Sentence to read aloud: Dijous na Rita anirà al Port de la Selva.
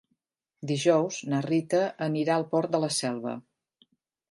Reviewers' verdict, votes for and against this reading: accepted, 2, 0